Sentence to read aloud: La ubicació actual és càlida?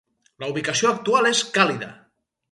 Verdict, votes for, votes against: rejected, 2, 2